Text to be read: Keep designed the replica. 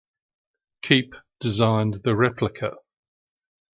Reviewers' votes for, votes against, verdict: 2, 0, accepted